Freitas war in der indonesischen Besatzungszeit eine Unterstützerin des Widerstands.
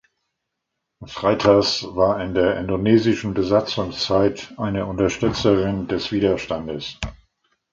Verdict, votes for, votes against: rejected, 1, 2